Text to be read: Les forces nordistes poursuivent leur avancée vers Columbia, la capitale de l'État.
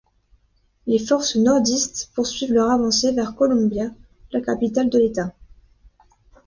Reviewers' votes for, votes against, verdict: 2, 1, accepted